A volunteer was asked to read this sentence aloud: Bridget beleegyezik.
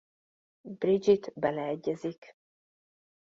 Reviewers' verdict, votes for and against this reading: accepted, 2, 0